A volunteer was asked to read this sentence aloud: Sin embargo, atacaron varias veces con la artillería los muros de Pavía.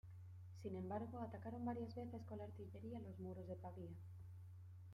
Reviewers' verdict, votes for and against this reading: accepted, 2, 0